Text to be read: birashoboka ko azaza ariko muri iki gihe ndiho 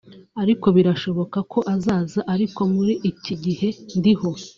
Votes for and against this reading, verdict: 1, 2, rejected